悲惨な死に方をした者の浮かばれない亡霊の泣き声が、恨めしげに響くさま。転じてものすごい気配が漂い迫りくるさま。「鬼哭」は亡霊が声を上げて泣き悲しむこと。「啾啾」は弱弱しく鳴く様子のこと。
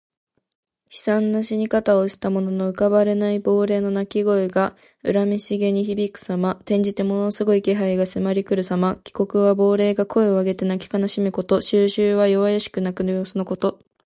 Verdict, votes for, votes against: accepted, 2, 0